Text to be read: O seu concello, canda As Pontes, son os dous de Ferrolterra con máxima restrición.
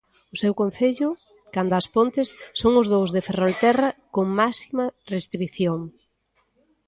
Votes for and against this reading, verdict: 0, 2, rejected